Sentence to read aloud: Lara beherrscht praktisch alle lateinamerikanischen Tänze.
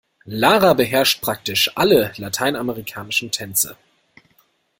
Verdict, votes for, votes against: accepted, 2, 0